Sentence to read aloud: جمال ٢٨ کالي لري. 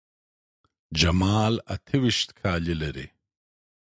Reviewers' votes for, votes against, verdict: 0, 2, rejected